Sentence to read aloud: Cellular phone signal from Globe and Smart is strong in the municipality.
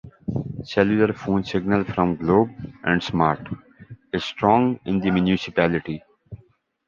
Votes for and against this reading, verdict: 2, 0, accepted